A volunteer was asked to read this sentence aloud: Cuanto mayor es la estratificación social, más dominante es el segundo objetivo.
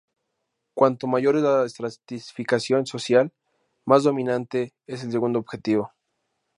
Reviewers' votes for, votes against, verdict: 2, 2, rejected